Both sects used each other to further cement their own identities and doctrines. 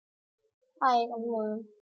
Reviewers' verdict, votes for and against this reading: rejected, 0, 2